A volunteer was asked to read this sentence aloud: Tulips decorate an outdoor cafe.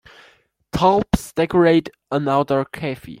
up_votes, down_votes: 0, 2